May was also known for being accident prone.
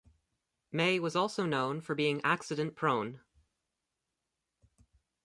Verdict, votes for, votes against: accepted, 2, 1